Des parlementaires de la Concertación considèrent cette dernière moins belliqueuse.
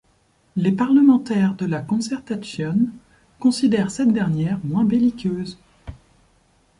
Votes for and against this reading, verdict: 0, 2, rejected